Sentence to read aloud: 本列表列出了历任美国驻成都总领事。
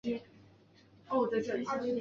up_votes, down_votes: 0, 2